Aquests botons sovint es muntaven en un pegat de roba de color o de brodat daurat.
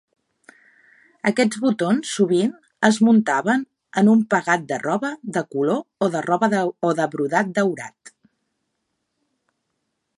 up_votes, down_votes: 0, 2